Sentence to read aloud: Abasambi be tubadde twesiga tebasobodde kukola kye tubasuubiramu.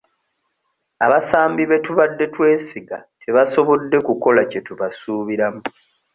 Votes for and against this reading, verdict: 2, 0, accepted